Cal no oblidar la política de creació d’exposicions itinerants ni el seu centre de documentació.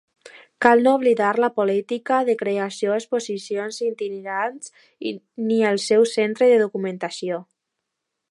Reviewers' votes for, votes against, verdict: 0, 2, rejected